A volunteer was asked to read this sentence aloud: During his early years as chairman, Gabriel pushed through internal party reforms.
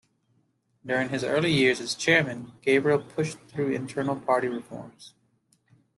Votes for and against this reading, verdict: 2, 0, accepted